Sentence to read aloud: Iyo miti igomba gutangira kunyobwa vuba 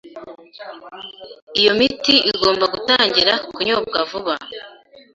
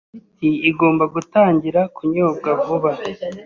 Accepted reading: first